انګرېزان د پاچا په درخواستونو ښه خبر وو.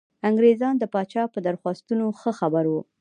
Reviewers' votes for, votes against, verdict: 2, 0, accepted